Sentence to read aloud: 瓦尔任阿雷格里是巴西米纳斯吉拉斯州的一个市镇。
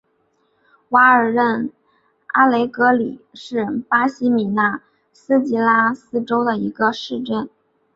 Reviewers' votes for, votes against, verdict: 2, 0, accepted